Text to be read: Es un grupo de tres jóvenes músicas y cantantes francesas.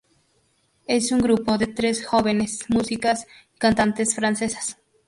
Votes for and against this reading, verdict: 0, 2, rejected